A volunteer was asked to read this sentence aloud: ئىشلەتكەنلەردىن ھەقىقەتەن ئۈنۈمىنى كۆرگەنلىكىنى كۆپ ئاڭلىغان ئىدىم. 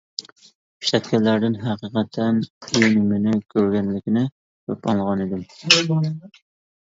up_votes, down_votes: 2, 1